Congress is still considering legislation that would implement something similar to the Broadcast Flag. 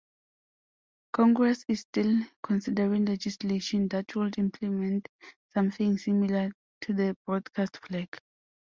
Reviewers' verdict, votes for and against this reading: accepted, 2, 0